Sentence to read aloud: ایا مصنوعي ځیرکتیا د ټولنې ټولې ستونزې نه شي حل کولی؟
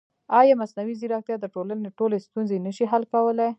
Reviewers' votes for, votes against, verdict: 0, 2, rejected